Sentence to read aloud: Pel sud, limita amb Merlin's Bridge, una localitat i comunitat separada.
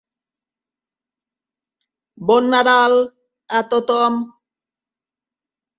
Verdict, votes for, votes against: rejected, 0, 2